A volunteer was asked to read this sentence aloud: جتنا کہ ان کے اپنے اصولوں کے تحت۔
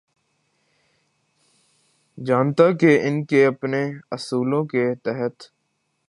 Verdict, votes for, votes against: rejected, 0, 2